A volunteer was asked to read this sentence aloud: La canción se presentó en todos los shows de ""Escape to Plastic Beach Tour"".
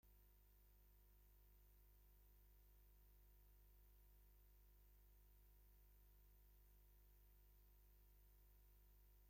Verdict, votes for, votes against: rejected, 0, 2